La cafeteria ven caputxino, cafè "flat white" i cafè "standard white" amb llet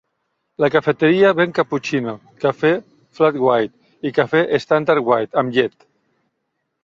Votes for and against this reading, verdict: 2, 0, accepted